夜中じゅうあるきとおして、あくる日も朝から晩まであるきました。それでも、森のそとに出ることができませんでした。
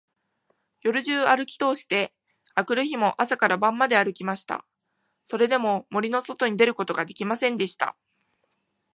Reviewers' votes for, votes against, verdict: 1, 2, rejected